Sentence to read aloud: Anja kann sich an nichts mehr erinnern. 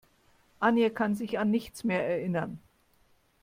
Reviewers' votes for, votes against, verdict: 0, 2, rejected